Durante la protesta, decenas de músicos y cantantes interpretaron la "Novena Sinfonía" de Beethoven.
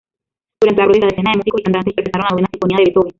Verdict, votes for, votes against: rejected, 0, 2